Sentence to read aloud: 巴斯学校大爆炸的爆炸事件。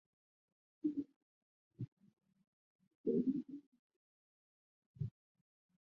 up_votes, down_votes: 2, 5